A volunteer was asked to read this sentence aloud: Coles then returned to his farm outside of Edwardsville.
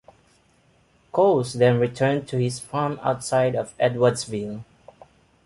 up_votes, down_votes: 2, 0